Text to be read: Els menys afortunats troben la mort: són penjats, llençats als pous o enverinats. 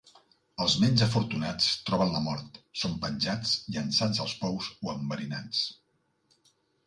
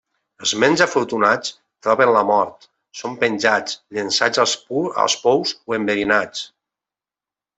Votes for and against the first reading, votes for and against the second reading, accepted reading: 5, 0, 0, 2, first